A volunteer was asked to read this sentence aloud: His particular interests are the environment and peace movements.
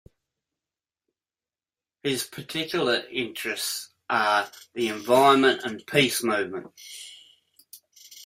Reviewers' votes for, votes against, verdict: 2, 0, accepted